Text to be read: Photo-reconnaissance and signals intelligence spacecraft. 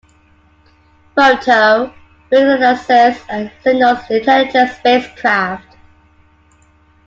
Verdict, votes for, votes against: accepted, 2, 1